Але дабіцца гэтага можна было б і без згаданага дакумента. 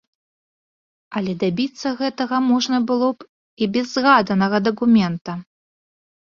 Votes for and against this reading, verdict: 2, 0, accepted